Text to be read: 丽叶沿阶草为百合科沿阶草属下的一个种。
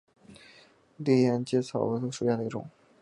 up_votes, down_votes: 2, 0